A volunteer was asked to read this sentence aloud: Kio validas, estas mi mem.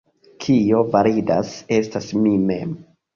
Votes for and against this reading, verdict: 1, 2, rejected